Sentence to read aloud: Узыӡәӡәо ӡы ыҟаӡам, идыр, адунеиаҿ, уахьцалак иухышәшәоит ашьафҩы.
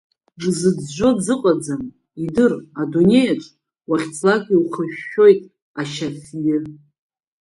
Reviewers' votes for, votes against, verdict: 1, 2, rejected